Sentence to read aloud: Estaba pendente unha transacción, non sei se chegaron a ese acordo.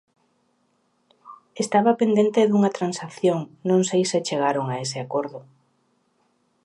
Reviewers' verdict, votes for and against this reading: rejected, 0, 2